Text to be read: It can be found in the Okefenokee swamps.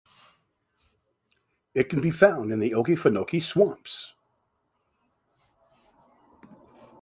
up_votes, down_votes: 2, 0